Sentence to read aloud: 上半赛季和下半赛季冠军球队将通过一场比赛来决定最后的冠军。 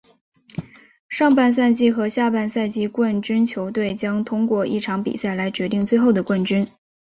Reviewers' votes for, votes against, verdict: 2, 0, accepted